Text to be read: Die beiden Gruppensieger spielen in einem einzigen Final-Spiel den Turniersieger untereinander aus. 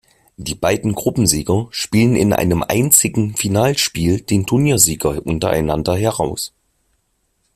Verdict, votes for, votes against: rejected, 0, 2